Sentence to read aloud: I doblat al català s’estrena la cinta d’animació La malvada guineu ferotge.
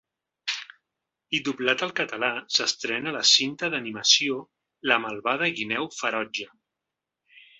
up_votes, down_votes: 2, 0